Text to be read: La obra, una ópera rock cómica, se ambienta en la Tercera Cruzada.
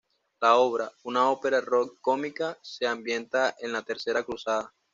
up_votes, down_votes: 2, 0